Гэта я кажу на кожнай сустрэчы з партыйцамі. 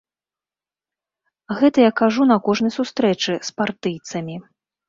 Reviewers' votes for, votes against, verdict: 2, 0, accepted